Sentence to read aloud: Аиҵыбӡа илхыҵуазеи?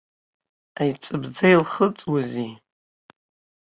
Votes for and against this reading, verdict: 2, 0, accepted